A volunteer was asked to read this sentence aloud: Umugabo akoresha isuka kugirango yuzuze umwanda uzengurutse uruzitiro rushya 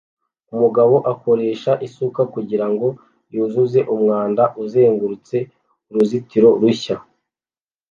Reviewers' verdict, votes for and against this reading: accepted, 2, 0